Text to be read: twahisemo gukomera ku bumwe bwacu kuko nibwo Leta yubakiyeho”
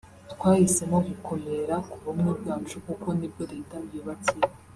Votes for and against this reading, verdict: 0, 2, rejected